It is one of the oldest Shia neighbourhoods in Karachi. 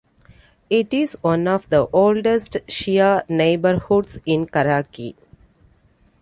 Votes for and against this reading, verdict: 3, 0, accepted